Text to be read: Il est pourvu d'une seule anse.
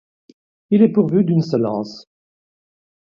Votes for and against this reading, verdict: 2, 0, accepted